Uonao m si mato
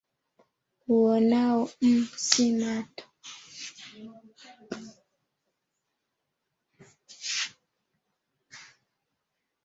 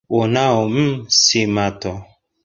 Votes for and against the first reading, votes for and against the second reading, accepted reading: 0, 2, 2, 1, second